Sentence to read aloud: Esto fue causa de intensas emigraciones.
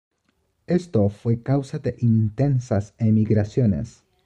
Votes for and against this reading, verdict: 2, 0, accepted